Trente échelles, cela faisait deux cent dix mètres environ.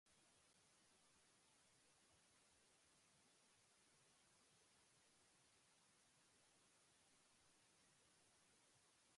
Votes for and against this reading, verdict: 0, 2, rejected